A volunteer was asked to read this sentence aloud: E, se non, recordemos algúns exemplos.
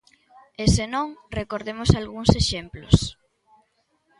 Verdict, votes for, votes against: accepted, 2, 0